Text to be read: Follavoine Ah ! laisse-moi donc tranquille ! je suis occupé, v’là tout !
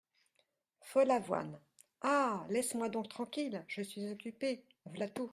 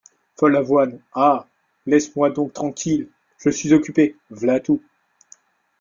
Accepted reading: first